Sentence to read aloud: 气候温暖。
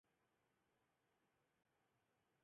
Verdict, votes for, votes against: rejected, 1, 2